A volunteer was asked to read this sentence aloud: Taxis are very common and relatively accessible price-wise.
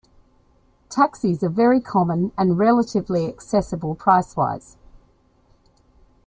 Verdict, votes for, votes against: accepted, 2, 0